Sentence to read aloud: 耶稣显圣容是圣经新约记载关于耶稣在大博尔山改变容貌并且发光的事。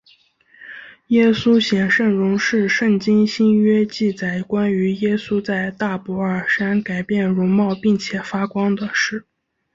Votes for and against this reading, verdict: 2, 0, accepted